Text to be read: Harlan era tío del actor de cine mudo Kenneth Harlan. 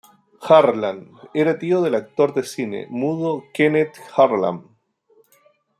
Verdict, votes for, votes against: accepted, 2, 0